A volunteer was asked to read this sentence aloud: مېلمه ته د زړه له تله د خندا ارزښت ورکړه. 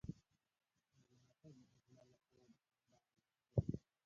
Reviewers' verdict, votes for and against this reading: rejected, 0, 2